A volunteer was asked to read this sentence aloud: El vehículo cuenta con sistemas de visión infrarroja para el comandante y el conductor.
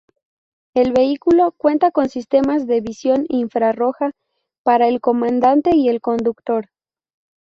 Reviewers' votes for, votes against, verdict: 2, 0, accepted